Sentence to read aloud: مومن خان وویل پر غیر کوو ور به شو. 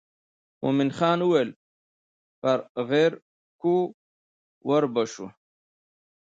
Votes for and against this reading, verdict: 1, 2, rejected